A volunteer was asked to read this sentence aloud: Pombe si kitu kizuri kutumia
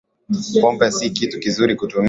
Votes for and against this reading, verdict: 9, 3, accepted